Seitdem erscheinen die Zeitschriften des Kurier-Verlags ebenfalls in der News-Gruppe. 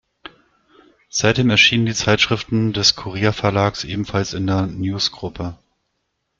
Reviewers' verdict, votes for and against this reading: rejected, 1, 2